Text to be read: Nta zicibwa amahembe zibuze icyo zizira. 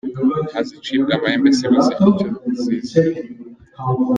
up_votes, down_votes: 2, 1